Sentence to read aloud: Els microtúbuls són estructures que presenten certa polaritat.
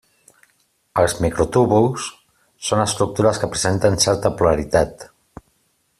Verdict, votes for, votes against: accepted, 3, 0